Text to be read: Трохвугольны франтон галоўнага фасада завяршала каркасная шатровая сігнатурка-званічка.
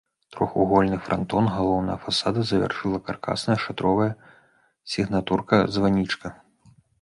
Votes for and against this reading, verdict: 1, 2, rejected